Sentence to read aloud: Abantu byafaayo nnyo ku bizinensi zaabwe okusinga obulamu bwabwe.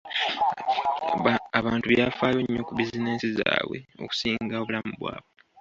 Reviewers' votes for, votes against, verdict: 0, 2, rejected